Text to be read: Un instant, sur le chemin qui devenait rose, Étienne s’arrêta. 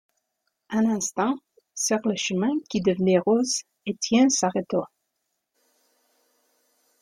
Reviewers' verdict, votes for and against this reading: accepted, 2, 0